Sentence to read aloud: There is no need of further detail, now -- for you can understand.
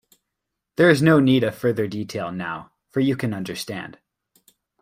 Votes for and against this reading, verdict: 2, 0, accepted